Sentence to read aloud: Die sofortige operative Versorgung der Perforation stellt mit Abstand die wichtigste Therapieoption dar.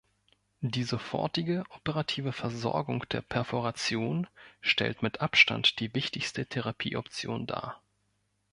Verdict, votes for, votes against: rejected, 0, 2